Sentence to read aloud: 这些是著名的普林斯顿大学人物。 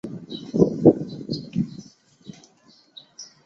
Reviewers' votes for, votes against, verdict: 0, 2, rejected